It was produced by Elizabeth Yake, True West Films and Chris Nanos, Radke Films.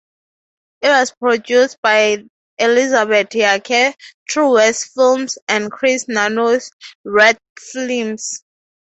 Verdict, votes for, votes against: rejected, 0, 6